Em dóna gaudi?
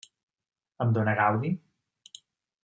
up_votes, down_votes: 0, 2